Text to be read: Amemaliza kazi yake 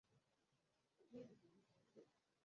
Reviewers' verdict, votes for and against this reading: rejected, 1, 14